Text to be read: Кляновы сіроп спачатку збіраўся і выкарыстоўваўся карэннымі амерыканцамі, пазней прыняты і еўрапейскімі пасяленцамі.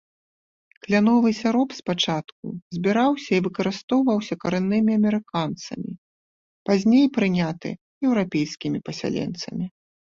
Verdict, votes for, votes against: rejected, 0, 2